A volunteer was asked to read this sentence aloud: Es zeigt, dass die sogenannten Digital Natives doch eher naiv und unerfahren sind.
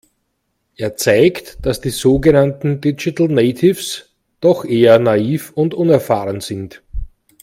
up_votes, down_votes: 1, 2